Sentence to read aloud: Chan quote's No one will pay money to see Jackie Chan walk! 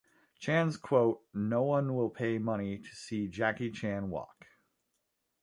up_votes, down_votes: 0, 2